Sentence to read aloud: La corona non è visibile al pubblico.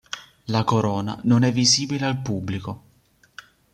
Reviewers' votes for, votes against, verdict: 3, 0, accepted